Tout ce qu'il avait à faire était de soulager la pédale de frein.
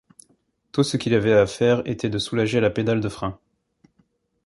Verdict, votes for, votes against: accepted, 2, 0